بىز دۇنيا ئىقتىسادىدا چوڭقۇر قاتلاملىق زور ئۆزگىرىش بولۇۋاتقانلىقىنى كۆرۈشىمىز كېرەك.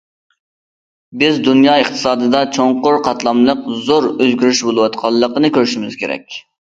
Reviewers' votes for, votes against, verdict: 2, 0, accepted